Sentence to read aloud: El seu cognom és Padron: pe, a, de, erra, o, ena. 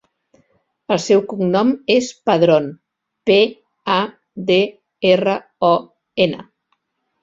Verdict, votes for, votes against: accepted, 2, 0